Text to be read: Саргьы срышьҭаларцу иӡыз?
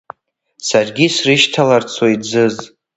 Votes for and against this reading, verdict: 0, 2, rejected